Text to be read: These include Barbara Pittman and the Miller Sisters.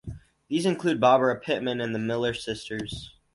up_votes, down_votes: 2, 0